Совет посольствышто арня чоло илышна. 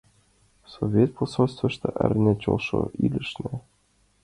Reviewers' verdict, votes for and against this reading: rejected, 1, 2